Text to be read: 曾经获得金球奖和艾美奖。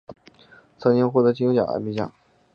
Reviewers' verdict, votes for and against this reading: accepted, 2, 0